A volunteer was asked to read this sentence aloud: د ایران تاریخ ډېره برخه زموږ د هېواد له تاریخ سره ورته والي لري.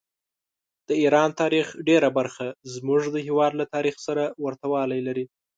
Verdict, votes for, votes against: accepted, 2, 0